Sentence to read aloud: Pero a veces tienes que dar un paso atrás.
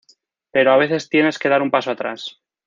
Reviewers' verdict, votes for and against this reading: accepted, 2, 0